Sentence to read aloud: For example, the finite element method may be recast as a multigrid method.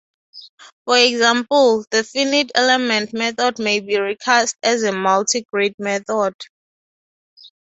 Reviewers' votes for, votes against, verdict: 2, 0, accepted